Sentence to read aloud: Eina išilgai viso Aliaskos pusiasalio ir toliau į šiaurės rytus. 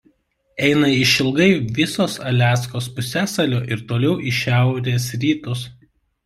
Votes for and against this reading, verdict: 1, 2, rejected